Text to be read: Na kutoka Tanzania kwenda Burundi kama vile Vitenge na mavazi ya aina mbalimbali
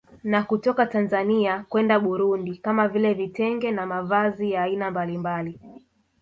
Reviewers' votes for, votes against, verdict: 1, 2, rejected